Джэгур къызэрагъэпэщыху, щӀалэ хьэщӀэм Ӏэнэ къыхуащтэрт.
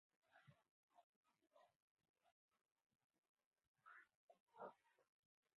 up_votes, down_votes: 0, 4